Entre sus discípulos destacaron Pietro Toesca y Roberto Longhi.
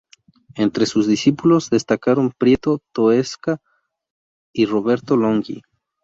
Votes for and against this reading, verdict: 2, 4, rejected